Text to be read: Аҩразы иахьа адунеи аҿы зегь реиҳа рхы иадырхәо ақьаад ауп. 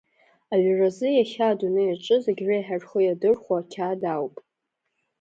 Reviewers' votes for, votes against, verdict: 2, 0, accepted